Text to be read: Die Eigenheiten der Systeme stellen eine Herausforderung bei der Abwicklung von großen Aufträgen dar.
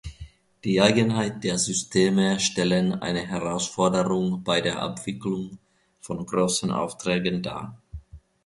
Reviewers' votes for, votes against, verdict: 1, 2, rejected